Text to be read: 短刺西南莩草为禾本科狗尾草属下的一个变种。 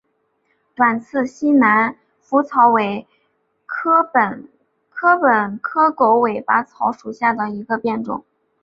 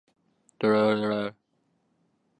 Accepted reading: first